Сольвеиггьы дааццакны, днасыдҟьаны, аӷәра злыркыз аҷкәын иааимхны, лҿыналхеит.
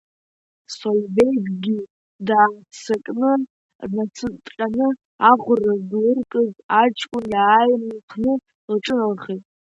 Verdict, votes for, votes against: rejected, 0, 2